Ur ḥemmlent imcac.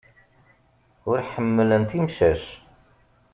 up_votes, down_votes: 2, 0